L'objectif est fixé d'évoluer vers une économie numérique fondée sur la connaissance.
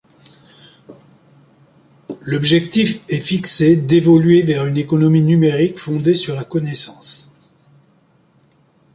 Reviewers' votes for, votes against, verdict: 3, 0, accepted